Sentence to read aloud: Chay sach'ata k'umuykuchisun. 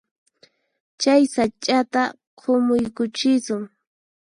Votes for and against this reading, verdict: 0, 4, rejected